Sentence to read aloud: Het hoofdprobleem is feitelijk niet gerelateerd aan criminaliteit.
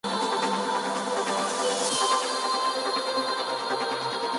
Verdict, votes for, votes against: rejected, 0, 2